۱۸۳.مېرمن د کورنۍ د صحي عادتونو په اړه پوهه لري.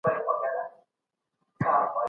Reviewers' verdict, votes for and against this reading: rejected, 0, 2